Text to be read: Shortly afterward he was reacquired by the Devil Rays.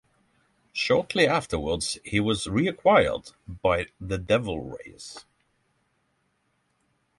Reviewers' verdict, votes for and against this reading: rejected, 0, 3